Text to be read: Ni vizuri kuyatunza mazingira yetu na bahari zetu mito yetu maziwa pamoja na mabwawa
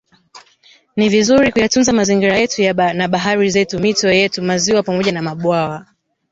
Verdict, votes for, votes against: rejected, 1, 2